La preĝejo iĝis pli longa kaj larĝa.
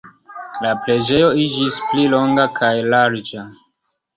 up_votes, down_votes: 2, 1